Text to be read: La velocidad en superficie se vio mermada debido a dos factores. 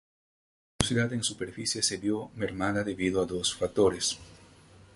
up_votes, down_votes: 0, 2